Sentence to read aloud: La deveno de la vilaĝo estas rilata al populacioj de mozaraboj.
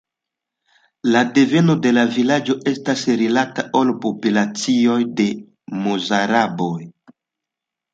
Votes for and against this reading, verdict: 2, 0, accepted